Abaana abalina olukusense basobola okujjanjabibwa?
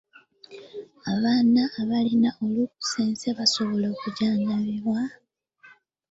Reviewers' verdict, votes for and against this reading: rejected, 0, 2